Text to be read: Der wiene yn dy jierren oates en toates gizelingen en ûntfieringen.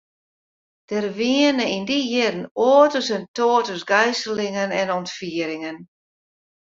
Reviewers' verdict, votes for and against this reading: rejected, 0, 2